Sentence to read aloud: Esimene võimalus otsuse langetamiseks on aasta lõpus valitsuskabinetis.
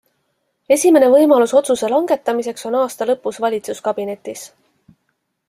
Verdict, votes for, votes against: accepted, 2, 0